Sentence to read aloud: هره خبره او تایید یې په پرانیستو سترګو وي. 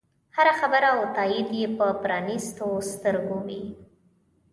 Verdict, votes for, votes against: accepted, 2, 0